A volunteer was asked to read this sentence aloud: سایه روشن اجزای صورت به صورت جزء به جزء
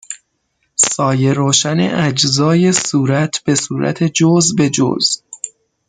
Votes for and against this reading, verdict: 6, 0, accepted